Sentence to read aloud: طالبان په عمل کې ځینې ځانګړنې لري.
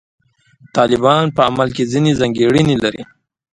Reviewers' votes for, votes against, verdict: 2, 0, accepted